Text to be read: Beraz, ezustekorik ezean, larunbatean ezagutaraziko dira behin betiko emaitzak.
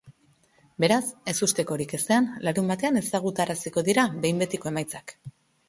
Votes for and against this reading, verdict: 2, 0, accepted